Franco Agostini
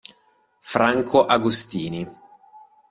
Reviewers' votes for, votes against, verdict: 2, 0, accepted